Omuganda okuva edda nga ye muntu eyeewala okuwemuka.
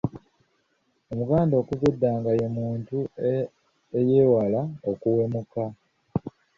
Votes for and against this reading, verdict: 2, 0, accepted